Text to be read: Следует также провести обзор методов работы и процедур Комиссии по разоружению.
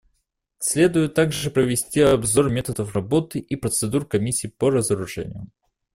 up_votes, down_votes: 2, 0